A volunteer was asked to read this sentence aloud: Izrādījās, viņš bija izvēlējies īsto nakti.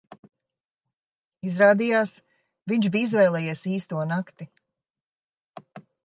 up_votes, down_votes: 2, 0